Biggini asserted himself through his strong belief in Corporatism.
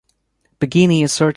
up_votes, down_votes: 0, 2